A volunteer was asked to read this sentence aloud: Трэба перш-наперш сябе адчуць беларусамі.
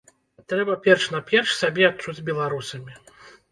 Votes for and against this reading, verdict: 1, 2, rejected